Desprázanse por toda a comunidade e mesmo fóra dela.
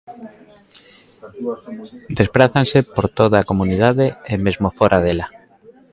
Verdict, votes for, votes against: accepted, 2, 1